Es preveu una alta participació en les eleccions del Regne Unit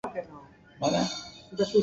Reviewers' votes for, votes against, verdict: 1, 2, rejected